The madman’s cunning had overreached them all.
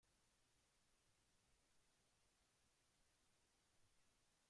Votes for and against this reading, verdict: 1, 2, rejected